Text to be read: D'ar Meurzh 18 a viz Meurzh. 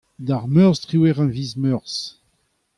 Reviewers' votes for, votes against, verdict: 0, 2, rejected